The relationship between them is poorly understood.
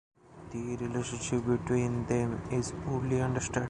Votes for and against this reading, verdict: 0, 2, rejected